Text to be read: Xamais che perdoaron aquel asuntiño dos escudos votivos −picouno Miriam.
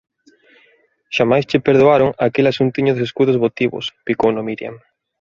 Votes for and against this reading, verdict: 1, 2, rejected